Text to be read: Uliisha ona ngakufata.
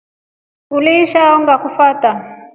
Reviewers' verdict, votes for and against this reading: accepted, 2, 1